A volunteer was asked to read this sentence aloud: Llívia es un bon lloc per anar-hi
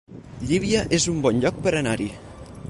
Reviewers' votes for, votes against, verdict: 6, 2, accepted